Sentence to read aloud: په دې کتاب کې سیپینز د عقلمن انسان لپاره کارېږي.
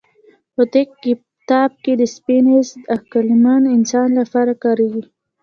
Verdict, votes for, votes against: rejected, 1, 2